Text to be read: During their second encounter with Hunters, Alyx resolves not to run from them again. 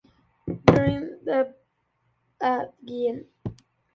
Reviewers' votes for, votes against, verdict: 0, 2, rejected